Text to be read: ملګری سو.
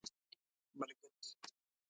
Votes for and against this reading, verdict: 0, 2, rejected